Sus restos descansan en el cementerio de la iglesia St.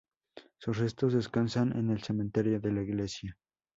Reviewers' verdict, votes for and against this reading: rejected, 0, 4